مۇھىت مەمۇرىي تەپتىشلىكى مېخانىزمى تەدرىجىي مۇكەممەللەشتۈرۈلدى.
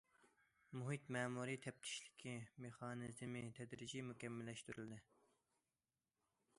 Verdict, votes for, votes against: accepted, 2, 0